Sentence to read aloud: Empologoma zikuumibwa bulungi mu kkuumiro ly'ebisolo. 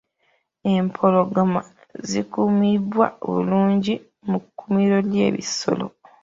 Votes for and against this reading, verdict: 0, 3, rejected